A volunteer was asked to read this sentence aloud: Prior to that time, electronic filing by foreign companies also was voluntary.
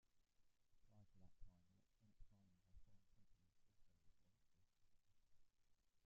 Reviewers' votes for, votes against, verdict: 0, 2, rejected